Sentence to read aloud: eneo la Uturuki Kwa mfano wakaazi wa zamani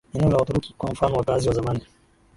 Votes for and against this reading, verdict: 0, 3, rejected